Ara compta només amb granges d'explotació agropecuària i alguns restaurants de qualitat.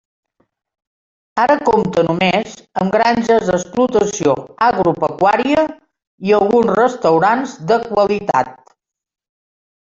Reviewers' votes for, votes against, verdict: 2, 1, accepted